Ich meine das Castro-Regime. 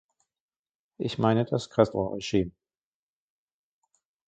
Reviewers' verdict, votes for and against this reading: rejected, 1, 2